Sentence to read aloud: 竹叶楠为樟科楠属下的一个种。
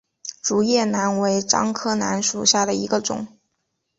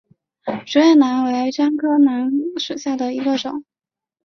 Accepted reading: first